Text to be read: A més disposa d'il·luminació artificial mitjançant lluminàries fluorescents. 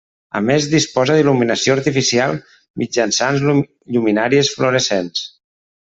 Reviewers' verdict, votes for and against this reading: rejected, 0, 2